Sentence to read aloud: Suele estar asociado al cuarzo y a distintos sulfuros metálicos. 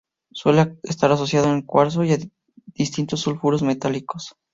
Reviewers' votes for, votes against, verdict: 0, 2, rejected